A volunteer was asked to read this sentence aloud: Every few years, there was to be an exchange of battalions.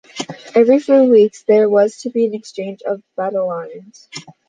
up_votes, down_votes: 0, 2